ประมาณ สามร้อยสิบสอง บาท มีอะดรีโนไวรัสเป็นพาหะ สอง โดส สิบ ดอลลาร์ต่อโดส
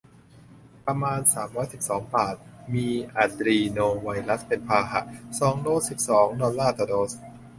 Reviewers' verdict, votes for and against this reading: rejected, 1, 2